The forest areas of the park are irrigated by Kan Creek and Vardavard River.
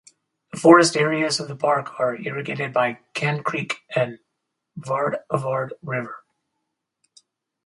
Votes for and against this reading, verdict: 6, 2, accepted